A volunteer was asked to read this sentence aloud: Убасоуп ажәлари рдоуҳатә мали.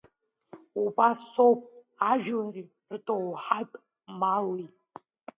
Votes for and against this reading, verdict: 3, 2, accepted